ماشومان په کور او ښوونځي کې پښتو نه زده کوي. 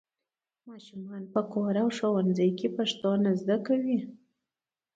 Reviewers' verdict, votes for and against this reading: accepted, 2, 1